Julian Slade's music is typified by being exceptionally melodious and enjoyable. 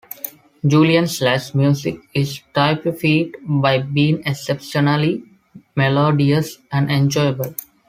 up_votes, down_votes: 2, 1